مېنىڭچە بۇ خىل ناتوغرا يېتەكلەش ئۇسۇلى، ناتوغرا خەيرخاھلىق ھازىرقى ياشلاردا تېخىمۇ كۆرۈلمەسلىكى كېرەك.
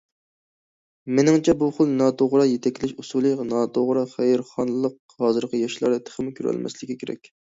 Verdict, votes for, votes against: rejected, 0, 2